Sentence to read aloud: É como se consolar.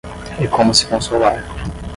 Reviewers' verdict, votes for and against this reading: rejected, 5, 5